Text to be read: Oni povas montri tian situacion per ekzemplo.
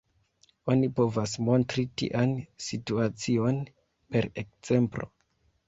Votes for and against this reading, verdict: 0, 2, rejected